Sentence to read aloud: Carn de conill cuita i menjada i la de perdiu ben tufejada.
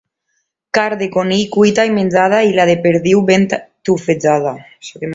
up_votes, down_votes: 2, 1